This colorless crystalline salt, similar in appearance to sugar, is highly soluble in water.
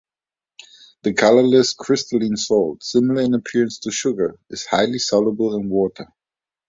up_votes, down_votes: 0, 2